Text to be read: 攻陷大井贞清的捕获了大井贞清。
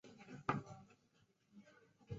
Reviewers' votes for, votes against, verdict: 1, 2, rejected